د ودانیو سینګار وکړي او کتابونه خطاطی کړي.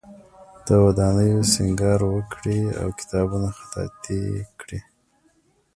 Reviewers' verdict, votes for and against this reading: accepted, 2, 1